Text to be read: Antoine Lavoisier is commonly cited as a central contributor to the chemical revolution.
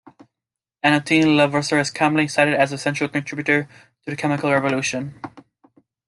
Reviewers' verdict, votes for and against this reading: accepted, 2, 1